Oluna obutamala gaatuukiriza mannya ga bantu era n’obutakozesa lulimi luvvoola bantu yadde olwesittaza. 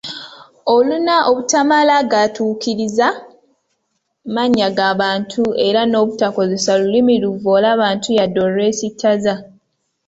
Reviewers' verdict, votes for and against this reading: accepted, 2, 0